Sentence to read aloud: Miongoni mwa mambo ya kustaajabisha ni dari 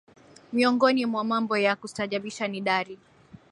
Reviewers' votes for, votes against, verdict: 6, 2, accepted